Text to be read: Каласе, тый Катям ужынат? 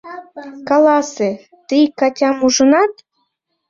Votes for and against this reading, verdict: 2, 1, accepted